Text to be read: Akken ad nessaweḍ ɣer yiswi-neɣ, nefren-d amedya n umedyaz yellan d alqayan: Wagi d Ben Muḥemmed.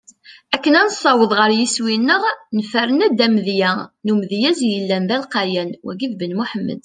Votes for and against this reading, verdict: 2, 0, accepted